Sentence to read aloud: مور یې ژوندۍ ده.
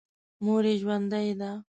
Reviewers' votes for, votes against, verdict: 2, 0, accepted